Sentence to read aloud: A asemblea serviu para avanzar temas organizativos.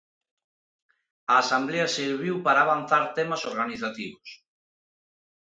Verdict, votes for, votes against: rejected, 0, 2